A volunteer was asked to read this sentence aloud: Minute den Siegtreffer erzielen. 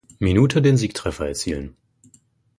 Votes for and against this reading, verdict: 4, 0, accepted